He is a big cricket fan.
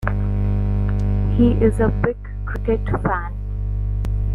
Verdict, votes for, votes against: accepted, 2, 0